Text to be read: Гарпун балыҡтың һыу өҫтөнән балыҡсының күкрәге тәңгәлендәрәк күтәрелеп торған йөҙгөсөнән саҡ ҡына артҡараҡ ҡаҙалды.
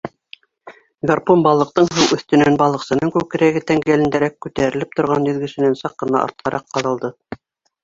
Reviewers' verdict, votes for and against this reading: rejected, 0, 2